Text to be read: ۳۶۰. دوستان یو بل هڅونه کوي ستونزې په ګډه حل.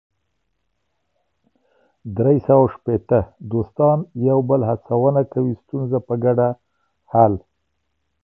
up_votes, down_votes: 0, 2